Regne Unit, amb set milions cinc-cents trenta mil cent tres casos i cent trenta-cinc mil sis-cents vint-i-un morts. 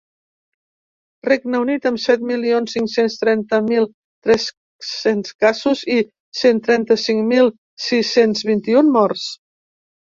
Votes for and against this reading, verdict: 0, 2, rejected